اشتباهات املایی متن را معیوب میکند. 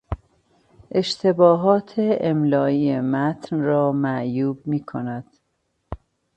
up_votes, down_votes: 2, 0